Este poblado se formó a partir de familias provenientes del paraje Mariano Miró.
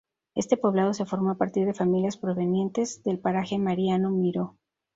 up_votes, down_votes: 2, 0